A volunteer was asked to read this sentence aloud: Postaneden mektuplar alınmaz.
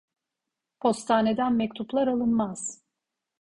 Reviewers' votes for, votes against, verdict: 2, 0, accepted